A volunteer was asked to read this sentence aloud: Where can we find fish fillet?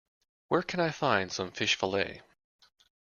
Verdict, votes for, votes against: rejected, 1, 2